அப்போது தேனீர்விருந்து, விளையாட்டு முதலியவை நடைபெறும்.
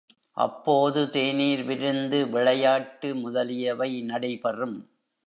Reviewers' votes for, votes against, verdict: 2, 0, accepted